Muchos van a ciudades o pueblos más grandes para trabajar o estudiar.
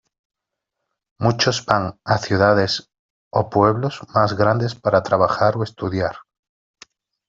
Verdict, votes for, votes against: accepted, 2, 0